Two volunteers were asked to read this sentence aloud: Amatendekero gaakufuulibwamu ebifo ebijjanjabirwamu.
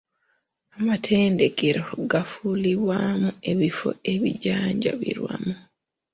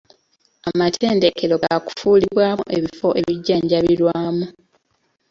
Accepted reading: first